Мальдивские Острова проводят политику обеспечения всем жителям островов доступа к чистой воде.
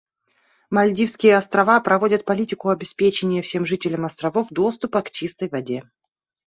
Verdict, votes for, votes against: accepted, 2, 0